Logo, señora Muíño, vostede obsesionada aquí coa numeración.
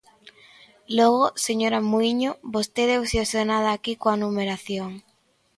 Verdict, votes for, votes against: accepted, 2, 0